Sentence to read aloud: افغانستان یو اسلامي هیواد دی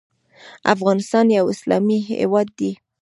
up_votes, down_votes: 1, 2